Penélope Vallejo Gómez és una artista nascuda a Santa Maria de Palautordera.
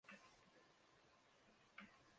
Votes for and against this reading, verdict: 0, 4, rejected